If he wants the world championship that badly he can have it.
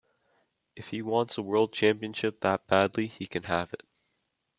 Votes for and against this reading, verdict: 2, 0, accepted